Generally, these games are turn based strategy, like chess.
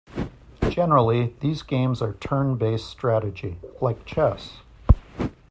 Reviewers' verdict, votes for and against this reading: accepted, 2, 0